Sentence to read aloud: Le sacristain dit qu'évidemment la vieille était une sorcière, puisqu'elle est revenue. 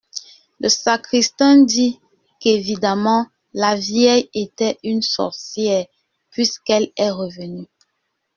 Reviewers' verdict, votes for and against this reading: rejected, 0, 2